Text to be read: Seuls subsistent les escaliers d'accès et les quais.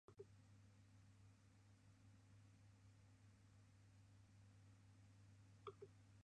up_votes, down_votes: 0, 2